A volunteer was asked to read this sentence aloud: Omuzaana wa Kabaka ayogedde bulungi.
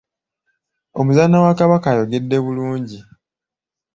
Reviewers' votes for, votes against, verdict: 2, 0, accepted